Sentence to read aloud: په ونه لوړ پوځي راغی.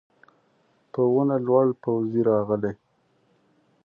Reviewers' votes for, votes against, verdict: 1, 2, rejected